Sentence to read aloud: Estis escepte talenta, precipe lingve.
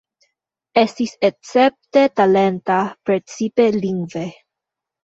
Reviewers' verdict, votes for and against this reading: accepted, 2, 1